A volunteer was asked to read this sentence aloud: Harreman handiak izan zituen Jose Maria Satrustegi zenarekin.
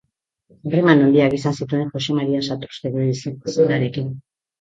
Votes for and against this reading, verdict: 2, 1, accepted